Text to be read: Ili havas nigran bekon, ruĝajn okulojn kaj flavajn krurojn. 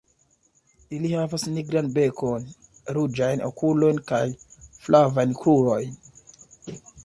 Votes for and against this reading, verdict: 2, 0, accepted